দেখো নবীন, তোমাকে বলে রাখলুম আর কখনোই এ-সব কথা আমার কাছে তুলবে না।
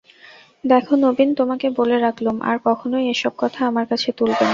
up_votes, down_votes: 0, 2